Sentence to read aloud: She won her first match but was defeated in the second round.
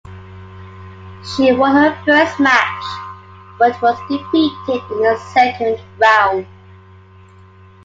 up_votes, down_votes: 3, 2